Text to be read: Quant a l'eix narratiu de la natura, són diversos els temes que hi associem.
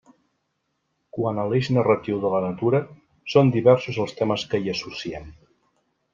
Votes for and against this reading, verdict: 2, 0, accepted